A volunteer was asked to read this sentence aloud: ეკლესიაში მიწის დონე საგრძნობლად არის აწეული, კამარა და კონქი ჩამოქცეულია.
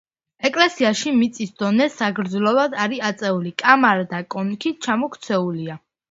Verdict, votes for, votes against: accepted, 2, 0